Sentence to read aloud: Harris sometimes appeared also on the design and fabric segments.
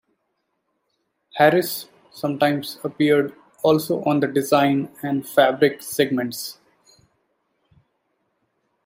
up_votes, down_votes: 2, 0